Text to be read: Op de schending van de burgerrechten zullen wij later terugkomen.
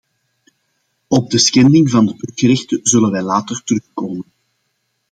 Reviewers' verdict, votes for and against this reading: accepted, 2, 1